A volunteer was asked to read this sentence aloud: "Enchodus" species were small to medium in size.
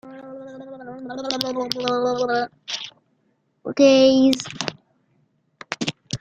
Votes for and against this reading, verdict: 0, 2, rejected